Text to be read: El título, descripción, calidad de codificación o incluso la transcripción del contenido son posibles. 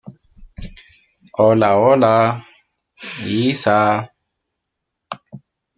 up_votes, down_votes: 0, 2